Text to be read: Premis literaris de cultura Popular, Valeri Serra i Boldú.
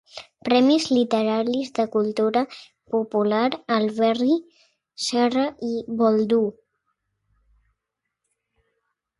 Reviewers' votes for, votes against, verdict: 0, 2, rejected